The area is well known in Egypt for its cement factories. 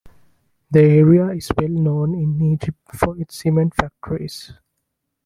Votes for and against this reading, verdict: 2, 0, accepted